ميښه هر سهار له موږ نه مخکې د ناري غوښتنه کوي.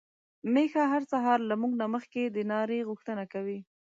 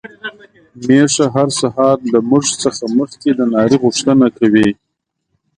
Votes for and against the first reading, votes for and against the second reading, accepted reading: 2, 0, 1, 2, first